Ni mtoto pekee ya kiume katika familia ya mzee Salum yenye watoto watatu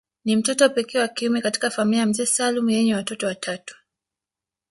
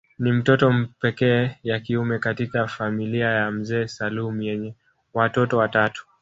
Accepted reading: first